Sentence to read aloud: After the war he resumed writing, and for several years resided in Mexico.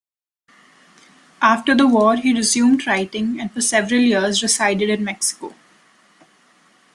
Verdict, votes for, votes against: accepted, 2, 0